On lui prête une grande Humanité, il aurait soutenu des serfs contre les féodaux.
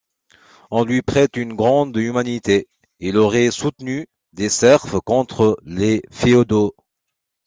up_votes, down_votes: 2, 0